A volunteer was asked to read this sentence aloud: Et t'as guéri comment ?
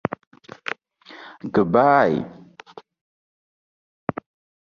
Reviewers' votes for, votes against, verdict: 0, 2, rejected